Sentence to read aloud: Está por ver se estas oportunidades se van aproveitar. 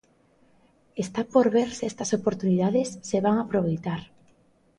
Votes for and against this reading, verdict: 3, 0, accepted